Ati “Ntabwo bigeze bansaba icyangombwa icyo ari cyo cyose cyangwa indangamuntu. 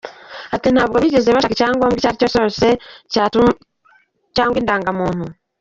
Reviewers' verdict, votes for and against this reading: rejected, 0, 3